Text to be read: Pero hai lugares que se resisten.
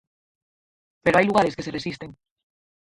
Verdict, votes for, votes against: rejected, 0, 4